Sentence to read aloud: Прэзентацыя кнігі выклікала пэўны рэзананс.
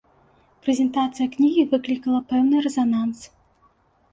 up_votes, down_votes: 1, 2